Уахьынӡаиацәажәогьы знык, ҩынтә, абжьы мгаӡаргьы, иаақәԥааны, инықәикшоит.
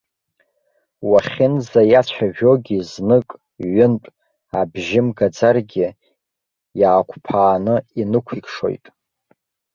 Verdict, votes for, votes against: accepted, 2, 1